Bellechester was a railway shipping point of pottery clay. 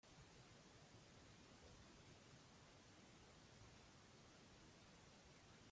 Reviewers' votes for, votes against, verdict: 0, 2, rejected